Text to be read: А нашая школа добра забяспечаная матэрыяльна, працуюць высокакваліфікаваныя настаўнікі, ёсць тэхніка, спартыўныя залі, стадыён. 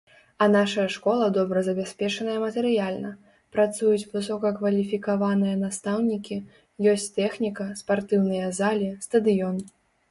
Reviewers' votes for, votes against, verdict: 3, 0, accepted